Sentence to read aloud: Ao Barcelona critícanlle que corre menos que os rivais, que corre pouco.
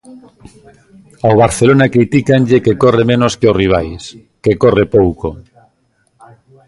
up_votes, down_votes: 2, 0